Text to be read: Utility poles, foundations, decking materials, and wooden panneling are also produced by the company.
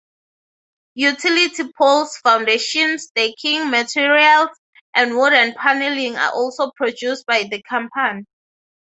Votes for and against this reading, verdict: 0, 3, rejected